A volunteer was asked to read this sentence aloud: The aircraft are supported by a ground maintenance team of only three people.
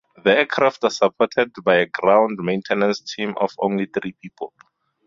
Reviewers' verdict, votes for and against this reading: accepted, 4, 2